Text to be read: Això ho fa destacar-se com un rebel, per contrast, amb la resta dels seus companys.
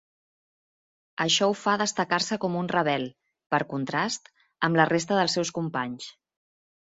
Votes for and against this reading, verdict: 3, 0, accepted